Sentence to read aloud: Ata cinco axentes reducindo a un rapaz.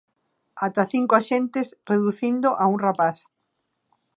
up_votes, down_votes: 2, 0